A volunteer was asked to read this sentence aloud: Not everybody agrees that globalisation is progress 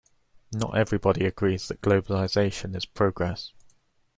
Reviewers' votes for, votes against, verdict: 2, 0, accepted